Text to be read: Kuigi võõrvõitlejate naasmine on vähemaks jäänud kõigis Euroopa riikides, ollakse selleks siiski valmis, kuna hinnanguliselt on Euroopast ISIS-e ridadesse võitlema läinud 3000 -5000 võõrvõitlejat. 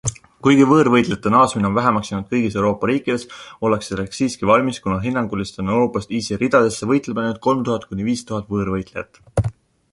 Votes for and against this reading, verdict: 0, 2, rejected